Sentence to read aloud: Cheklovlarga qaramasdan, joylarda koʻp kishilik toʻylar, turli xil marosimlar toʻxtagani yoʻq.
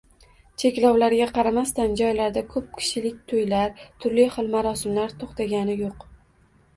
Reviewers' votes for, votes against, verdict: 0, 2, rejected